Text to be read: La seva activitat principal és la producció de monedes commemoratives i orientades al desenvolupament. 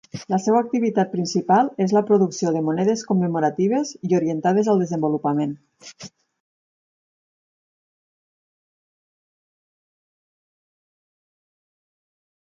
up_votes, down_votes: 2, 4